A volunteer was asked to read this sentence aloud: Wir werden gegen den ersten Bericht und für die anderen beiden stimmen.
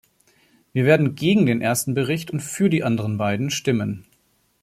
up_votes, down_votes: 2, 0